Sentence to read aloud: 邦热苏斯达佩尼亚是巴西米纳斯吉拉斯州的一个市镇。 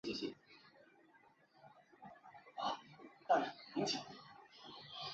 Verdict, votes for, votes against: rejected, 0, 2